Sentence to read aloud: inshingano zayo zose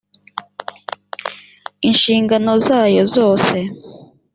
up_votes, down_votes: 2, 0